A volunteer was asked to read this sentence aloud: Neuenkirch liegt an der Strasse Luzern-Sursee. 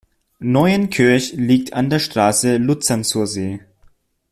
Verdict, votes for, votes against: rejected, 0, 2